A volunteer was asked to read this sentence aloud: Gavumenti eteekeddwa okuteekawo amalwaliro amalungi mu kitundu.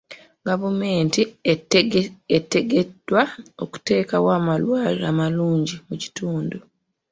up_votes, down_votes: 0, 3